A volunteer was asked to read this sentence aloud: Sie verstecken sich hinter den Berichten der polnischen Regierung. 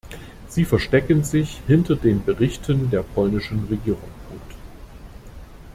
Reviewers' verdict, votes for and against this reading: rejected, 0, 2